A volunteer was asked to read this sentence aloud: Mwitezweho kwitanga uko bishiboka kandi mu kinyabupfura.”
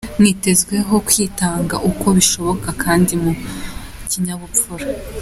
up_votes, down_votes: 2, 0